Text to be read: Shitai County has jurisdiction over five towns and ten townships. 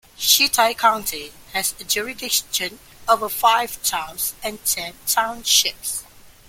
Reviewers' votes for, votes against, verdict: 1, 2, rejected